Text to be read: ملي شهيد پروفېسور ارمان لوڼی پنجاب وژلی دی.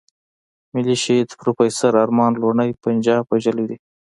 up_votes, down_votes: 2, 0